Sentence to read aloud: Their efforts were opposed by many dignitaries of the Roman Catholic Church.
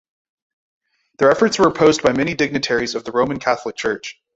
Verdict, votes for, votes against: rejected, 2, 2